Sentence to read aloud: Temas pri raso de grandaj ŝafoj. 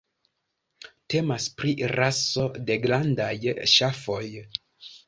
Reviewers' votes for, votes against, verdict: 2, 0, accepted